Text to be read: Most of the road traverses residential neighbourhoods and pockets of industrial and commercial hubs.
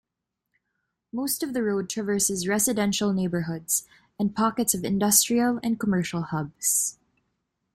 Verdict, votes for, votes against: accepted, 2, 0